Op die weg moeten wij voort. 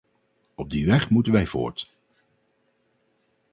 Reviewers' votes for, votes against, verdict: 2, 2, rejected